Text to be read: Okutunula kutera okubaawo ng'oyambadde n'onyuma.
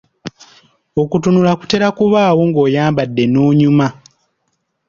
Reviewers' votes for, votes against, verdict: 2, 0, accepted